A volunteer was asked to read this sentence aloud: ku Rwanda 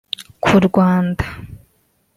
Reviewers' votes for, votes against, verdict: 2, 1, accepted